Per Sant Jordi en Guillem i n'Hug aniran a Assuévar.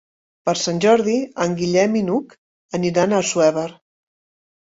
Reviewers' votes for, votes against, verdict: 2, 0, accepted